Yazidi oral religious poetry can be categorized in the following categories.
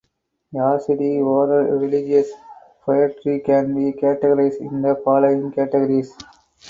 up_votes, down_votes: 2, 2